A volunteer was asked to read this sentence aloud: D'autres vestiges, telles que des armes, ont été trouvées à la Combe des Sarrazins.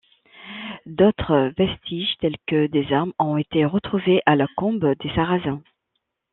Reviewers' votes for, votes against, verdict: 1, 2, rejected